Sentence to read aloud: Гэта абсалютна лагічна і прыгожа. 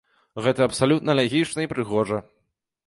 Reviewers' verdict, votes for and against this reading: rejected, 1, 2